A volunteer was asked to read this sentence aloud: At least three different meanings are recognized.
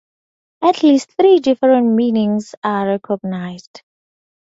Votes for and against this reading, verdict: 2, 0, accepted